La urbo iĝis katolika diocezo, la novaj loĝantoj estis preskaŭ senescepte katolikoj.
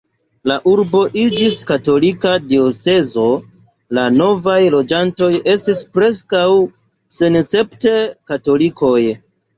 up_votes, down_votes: 1, 2